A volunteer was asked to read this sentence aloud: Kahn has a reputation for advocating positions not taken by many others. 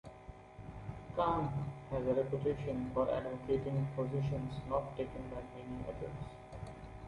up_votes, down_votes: 2, 0